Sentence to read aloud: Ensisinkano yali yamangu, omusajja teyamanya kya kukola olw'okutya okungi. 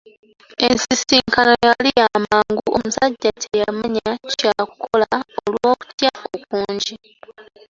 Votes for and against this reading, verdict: 2, 1, accepted